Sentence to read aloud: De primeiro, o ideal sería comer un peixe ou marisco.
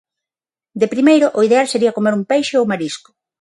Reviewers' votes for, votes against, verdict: 6, 0, accepted